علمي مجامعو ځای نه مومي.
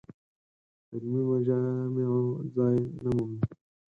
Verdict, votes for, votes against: rejected, 0, 4